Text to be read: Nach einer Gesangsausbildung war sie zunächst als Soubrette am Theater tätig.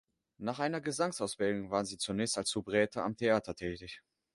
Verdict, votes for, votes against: accepted, 2, 0